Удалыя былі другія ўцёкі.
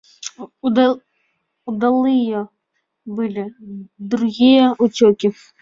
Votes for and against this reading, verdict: 1, 2, rejected